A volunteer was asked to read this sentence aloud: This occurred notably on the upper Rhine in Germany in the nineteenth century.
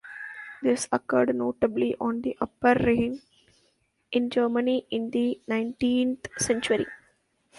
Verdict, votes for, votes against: rejected, 0, 2